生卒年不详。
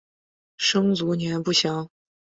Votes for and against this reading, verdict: 7, 0, accepted